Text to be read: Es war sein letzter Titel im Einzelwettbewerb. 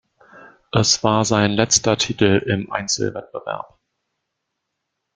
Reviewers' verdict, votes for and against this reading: accepted, 2, 0